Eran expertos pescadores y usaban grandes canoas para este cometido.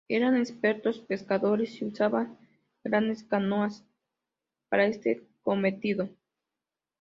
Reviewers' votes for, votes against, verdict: 2, 0, accepted